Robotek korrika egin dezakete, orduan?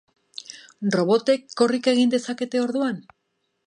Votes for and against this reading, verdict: 3, 0, accepted